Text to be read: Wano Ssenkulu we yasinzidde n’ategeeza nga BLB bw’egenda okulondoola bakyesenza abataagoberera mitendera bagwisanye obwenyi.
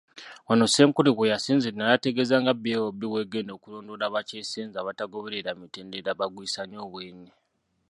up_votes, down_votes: 1, 2